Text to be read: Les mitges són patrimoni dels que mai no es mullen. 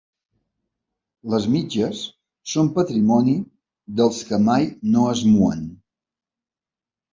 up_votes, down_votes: 1, 2